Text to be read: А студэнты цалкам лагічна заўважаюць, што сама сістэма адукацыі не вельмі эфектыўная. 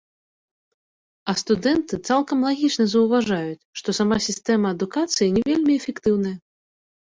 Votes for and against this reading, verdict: 2, 0, accepted